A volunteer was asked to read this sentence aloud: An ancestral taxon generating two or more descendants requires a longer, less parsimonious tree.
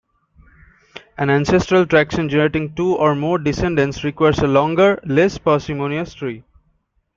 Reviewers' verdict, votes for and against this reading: rejected, 0, 2